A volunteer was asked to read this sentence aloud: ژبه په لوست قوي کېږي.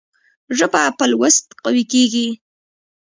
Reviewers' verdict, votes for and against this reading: accepted, 2, 0